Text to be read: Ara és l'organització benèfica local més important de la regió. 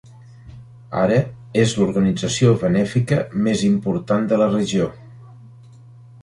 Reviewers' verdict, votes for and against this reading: rejected, 0, 2